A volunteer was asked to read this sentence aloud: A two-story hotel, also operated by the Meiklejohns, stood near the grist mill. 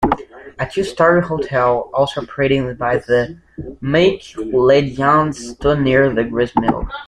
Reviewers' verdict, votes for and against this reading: rejected, 0, 2